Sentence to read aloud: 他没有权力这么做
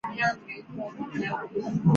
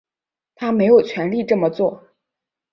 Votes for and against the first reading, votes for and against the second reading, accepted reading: 1, 2, 2, 0, second